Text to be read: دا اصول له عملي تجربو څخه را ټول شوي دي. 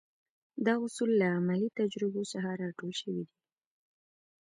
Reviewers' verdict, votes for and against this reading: accepted, 2, 0